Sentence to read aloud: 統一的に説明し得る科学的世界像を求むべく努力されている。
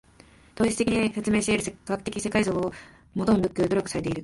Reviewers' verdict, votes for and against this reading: rejected, 3, 4